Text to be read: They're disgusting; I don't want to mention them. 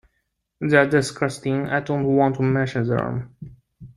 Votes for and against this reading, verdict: 2, 0, accepted